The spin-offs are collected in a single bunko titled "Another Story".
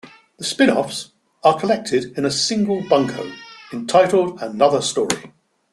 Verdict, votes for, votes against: rejected, 1, 2